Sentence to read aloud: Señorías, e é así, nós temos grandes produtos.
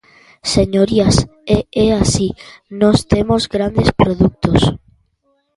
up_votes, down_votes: 2, 1